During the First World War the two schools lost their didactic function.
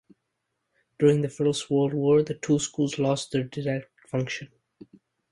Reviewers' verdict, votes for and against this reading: rejected, 0, 2